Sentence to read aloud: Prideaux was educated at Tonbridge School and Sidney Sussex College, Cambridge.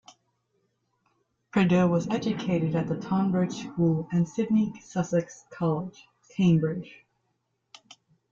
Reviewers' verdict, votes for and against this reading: rejected, 1, 2